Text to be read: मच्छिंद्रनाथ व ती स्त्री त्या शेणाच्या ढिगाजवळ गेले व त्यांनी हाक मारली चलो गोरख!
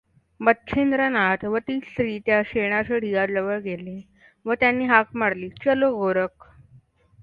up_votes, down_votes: 2, 1